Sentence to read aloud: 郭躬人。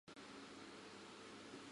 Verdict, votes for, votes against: rejected, 2, 2